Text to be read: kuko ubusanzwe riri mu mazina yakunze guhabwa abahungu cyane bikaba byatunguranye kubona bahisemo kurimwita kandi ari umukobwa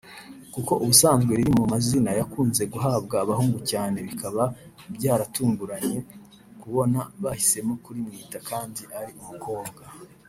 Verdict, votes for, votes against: rejected, 1, 2